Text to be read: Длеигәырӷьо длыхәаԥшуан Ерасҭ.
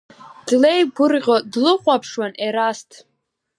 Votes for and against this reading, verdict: 4, 0, accepted